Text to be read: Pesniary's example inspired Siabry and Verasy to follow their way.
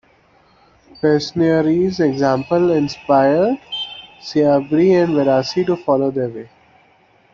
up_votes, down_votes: 2, 0